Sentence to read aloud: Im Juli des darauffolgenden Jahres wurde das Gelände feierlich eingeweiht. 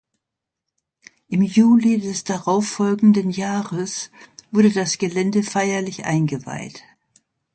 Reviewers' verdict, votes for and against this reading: accepted, 2, 0